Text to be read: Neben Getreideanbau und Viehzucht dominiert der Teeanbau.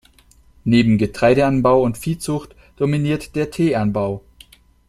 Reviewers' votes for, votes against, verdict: 2, 0, accepted